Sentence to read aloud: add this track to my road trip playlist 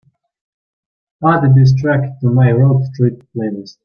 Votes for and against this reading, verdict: 6, 4, accepted